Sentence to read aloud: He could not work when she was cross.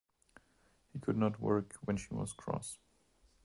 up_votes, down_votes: 0, 2